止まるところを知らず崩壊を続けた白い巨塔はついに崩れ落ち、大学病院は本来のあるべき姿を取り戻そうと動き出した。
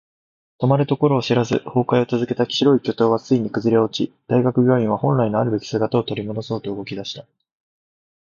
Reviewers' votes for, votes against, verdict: 2, 0, accepted